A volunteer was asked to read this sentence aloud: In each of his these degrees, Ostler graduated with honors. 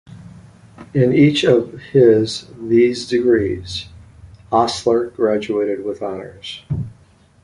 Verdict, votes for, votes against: rejected, 0, 2